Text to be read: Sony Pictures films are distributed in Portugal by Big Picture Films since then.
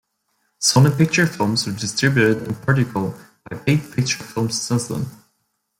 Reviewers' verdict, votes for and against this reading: rejected, 0, 2